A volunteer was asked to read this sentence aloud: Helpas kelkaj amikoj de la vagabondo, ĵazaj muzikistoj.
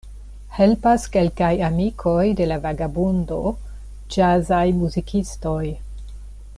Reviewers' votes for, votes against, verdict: 2, 1, accepted